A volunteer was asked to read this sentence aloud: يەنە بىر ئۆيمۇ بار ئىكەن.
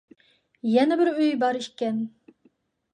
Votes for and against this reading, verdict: 0, 2, rejected